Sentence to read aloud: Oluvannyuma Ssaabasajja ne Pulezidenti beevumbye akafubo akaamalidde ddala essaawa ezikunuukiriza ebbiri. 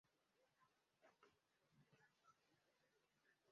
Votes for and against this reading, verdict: 0, 2, rejected